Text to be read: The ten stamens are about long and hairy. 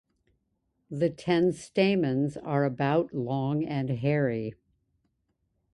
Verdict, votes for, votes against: accepted, 2, 0